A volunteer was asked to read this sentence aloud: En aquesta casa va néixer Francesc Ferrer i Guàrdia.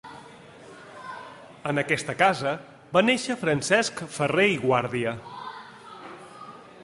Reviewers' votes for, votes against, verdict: 0, 2, rejected